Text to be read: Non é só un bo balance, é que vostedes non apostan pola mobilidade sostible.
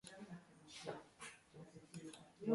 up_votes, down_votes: 0, 2